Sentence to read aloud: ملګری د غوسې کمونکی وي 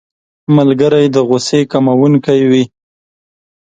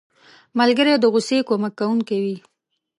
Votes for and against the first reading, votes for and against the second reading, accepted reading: 4, 0, 1, 3, first